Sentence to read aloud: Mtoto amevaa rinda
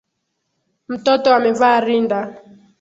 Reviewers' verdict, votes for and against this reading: accepted, 2, 0